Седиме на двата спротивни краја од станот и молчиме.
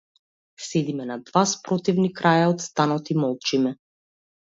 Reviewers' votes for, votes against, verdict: 0, 2, rejected